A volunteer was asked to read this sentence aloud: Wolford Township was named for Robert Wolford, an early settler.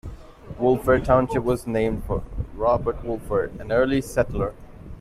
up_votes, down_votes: 2, 0